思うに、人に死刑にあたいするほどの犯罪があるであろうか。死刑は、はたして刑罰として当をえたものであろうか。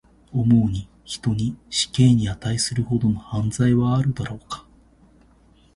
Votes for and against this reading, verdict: 1, 2, rejected